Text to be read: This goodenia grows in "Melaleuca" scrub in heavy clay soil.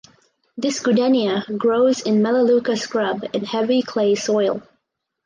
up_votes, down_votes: 4, 0